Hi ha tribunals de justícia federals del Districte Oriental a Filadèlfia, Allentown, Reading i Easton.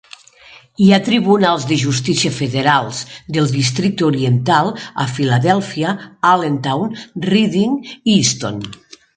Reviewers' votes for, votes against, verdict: 6, 0, accepted